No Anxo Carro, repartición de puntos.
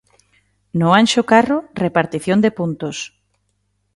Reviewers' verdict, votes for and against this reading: accepted, 2, 0